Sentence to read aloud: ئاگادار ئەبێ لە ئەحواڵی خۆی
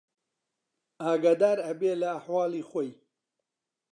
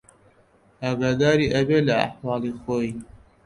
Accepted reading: first